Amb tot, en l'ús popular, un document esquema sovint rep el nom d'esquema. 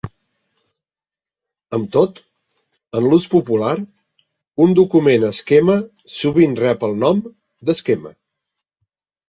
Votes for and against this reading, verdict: 3, 0, accepted